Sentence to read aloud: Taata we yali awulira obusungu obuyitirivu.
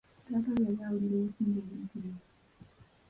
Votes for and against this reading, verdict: 1, 2, rejected